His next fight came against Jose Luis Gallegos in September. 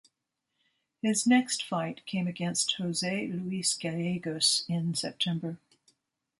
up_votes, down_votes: 2, 0